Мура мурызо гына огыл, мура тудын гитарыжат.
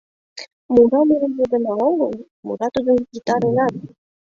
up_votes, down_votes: 2, 0